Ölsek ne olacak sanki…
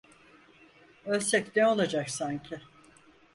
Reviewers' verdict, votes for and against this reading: accepted, 4, 0